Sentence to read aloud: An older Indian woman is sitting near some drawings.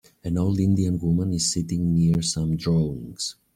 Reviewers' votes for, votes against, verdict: 1, 2, rejected